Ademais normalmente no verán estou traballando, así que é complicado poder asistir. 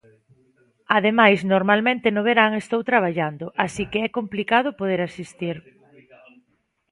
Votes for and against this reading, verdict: 2, 0, accepted